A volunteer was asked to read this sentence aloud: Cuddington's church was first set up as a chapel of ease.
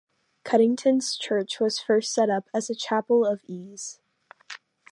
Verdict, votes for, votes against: accepted, 2, 0